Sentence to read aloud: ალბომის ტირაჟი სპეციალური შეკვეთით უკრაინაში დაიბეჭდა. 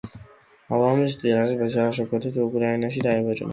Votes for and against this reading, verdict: 2, 1, accepted